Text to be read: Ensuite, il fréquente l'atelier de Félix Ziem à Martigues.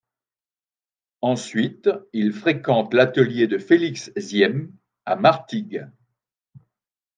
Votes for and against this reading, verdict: 3, 0, accepted